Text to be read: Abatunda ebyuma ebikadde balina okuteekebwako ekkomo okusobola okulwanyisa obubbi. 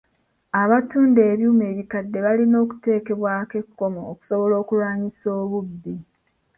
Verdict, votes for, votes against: accepted, 2, 1